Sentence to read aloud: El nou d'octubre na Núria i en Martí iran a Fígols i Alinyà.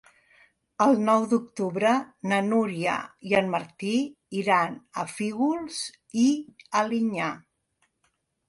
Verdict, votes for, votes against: accepted, 3, 0